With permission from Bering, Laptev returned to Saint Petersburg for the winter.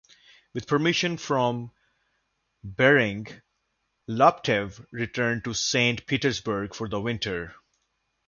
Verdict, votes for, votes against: accepted, 2, 0